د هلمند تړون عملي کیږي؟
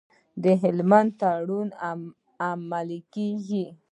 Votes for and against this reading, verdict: 0, 2, rejected